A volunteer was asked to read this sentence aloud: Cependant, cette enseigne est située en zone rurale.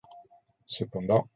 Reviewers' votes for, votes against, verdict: 0, 2, rejected